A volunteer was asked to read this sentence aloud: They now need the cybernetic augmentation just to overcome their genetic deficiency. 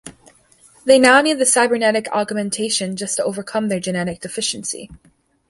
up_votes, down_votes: 1, 2